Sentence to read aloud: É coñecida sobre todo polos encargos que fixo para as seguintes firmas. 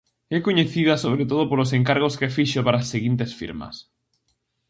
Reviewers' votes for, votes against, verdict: 2, 0, accepted